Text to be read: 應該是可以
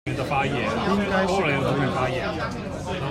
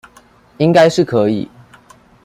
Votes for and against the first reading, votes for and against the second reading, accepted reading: 0, 2, 2, 0, second